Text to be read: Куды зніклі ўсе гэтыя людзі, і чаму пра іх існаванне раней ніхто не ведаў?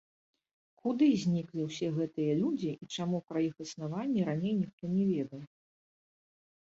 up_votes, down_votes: 0, 2